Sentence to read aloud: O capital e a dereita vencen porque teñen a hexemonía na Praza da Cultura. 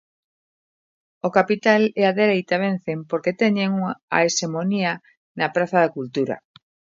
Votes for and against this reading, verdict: 1, 2, rejected